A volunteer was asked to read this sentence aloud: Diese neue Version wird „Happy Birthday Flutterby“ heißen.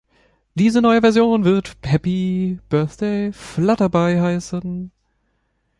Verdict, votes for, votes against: rejected, 0, 2